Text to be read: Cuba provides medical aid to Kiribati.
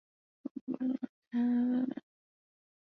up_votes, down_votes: 0, 2